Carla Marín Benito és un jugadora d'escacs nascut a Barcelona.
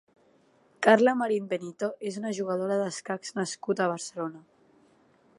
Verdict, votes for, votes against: rejected, 1, 2